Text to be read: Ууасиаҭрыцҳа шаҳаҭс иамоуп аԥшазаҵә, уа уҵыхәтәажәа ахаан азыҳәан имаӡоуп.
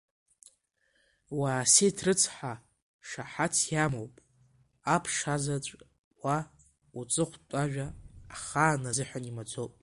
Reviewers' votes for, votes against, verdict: 0, 2, rejected